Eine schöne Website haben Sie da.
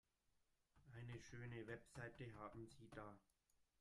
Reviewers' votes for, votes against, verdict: 0, 2, rejected